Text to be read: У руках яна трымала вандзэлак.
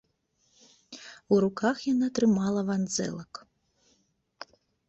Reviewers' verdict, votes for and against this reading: accepted, 3, 0